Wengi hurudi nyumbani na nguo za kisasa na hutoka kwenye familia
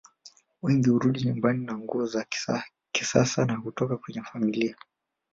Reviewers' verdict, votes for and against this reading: rejected, 1, 2